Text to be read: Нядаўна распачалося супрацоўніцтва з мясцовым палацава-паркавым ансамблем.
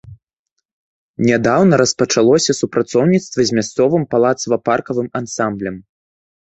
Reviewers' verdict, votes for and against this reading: accepted, 2, 0